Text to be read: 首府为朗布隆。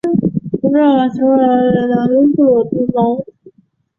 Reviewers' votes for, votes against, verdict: 0, 2, rejected